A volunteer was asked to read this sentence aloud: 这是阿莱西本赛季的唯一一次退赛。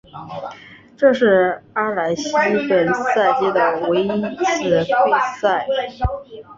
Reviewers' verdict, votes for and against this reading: accepted, 2, 0